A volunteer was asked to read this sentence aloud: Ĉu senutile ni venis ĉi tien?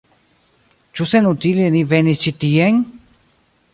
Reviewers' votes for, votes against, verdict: 2, 1, accepted